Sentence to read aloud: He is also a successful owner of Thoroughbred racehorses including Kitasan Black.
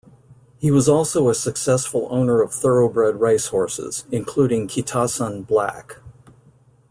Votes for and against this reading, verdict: 1, 2, rejected